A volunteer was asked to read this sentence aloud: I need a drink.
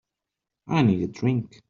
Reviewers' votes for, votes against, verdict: 2, 0, accepted